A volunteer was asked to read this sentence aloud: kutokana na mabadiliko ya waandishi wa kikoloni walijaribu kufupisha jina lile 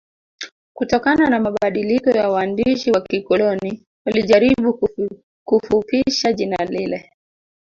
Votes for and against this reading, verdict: 0, 2, rejected